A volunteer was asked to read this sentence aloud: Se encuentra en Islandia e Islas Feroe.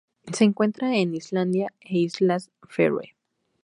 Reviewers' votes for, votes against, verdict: 0, 2, rejected